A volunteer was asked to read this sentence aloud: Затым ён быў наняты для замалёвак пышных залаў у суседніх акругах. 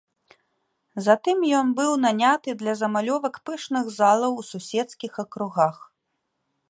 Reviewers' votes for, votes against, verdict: 0, 2, rejected